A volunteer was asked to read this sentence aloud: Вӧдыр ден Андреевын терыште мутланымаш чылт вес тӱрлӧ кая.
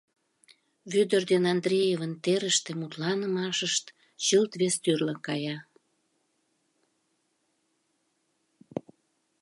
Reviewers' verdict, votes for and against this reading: rejected, 0, 2